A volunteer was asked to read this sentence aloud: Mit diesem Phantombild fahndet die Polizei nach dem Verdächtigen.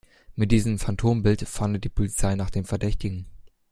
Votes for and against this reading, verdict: 2, 0, accepted